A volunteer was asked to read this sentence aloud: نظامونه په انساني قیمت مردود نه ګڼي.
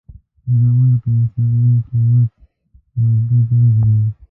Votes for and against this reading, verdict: 0, 2, rejected